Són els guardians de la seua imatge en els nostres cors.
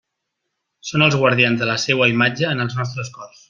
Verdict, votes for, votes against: accepted, 3, 0